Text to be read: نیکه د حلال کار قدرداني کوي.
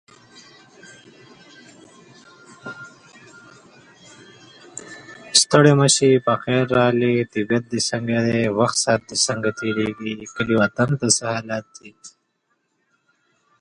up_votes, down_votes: 0, 3